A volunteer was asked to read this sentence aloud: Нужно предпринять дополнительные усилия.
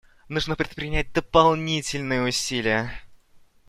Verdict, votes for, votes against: accepted, 2, 0